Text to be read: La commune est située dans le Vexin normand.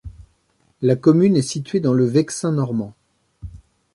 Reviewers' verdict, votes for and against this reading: accepted, 2, 0